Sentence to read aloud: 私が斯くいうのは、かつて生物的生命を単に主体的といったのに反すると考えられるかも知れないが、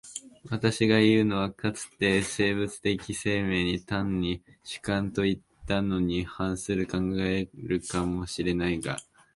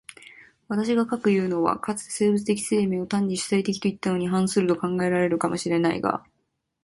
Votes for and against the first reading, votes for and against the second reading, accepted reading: 0, 2, 2, 1, second